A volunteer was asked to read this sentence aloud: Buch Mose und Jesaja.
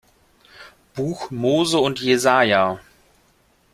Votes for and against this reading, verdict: 2, 0, accepted